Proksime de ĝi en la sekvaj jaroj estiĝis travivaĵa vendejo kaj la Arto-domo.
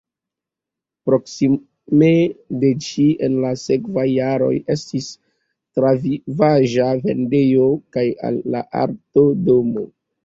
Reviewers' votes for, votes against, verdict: 0, 2, rejected